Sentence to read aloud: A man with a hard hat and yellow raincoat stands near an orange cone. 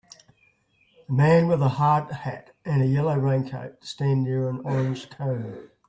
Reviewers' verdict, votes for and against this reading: rejected, 1, 2